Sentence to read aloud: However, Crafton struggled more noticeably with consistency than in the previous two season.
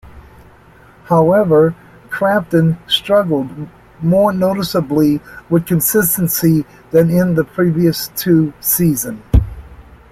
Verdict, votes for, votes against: accepted, 2, 1